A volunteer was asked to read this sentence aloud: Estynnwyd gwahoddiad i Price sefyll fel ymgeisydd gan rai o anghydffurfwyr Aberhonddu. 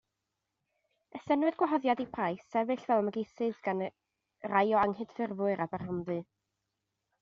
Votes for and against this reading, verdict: 2, 0, accepted